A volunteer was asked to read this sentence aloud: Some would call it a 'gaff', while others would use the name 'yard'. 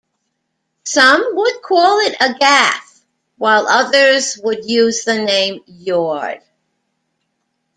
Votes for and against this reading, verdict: 0, 2, rejected